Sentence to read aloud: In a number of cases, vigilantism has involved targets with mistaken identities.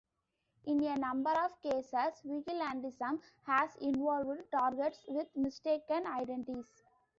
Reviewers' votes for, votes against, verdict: 3, 0, accepted